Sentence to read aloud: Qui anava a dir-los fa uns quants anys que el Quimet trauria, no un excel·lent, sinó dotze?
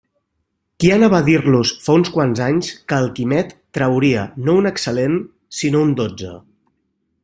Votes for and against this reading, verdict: 1, 2, rejected